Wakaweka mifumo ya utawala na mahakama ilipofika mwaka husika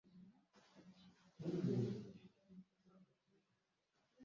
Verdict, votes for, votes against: rejected, 0, 2